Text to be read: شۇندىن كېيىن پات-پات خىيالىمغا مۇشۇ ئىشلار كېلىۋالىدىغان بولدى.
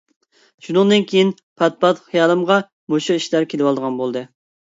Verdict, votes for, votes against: accepted, 3, 0